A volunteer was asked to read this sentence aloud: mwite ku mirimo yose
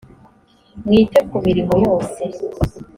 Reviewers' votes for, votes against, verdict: 2, 0, accepted